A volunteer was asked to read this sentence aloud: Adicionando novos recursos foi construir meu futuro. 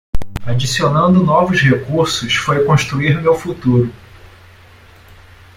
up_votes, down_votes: 1, 2